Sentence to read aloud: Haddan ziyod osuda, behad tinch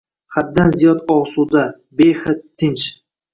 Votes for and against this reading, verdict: 2, 0, accepted